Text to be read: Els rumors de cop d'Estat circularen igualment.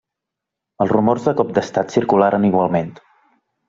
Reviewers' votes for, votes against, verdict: 3, 0, accepted